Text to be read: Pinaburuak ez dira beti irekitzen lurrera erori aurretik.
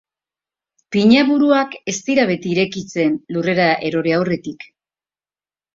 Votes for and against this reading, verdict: 3, 0, accepted